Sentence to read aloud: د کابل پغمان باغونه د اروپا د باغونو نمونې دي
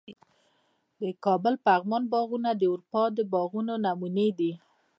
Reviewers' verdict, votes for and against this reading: rejected, 0, 2